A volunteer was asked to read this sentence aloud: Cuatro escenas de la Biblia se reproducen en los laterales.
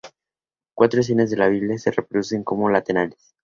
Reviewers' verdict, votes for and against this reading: rejected, 0, 2